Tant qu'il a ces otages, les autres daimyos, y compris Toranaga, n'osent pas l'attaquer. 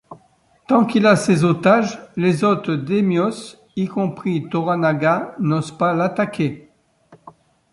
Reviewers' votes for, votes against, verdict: 2, 1, accepted